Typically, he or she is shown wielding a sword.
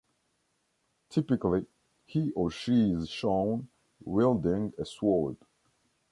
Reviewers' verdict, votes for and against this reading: rejected, 1, 2